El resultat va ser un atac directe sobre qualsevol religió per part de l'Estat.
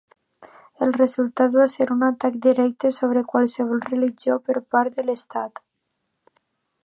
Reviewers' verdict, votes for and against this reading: accepted, 2, 1